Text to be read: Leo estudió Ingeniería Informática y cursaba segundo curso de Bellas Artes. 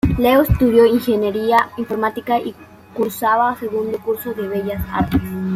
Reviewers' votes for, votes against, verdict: 2, 0, accepted